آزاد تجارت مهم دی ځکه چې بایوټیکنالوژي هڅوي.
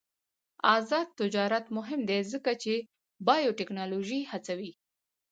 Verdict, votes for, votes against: accepted, 2, 0